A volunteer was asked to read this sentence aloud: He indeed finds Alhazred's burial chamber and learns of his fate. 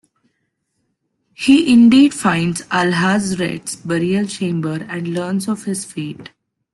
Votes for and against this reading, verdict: 2, 0, accepted